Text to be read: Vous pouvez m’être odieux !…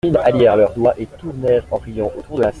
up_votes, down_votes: 0, 2